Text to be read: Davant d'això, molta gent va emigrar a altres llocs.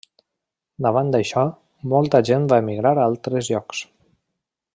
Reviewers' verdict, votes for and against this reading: accepted, 3, 0